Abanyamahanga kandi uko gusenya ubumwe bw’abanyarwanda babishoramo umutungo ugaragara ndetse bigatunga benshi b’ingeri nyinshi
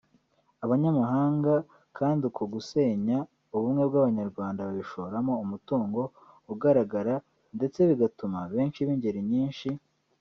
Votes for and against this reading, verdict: 0, 2, rejected